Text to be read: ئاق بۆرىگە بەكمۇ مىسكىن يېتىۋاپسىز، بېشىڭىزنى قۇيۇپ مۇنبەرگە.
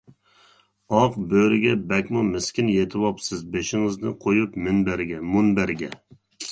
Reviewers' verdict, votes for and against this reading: rejected, 0, 2